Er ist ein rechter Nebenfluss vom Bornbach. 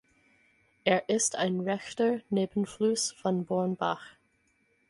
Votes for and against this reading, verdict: 2, 4, rejected